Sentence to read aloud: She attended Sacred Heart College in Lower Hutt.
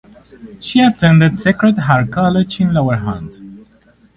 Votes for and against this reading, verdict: 2, 2, rejected